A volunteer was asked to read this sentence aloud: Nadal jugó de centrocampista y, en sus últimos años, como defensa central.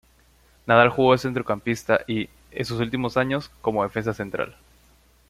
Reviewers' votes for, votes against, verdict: 2, 0, accepted